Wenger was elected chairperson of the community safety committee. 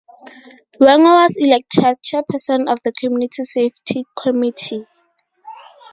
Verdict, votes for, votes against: rejected, 2, 2